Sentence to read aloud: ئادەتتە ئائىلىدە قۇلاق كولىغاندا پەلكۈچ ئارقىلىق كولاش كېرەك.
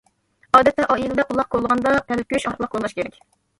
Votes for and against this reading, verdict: 0, 2, rejected